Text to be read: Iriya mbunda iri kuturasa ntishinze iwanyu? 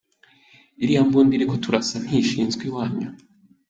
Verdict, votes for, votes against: accepted, 3, 2